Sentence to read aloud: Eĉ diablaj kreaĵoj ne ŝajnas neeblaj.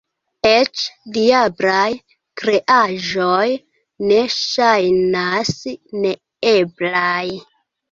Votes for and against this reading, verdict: 2, 1, accepted